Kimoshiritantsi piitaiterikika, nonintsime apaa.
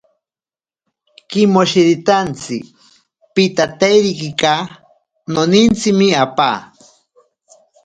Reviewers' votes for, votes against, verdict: 1, 2, rejected